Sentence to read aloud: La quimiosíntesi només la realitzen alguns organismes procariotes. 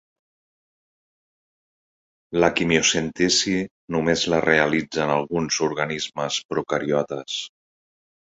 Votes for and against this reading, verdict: 1, 2, rejected